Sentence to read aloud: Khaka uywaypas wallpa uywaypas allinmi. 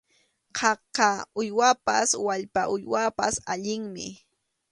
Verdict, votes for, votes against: accepted, 2, 0